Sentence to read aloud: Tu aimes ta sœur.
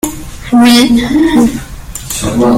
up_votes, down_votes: 0, 2